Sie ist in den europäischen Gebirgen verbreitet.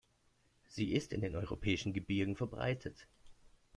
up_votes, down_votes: 2, 0